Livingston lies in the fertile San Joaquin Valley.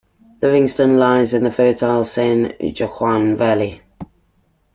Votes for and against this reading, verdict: 0, 2, rejected